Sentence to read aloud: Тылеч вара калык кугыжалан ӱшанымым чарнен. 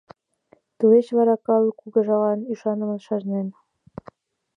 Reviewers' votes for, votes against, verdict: 3, 0, accepted